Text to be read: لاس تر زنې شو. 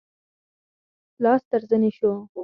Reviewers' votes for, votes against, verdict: 6, 2, accepted